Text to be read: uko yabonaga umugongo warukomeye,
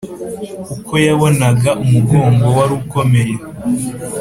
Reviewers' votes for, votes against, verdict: 2, 0, accepted